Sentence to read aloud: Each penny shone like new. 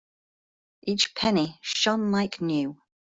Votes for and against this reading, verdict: 2, 0, accepted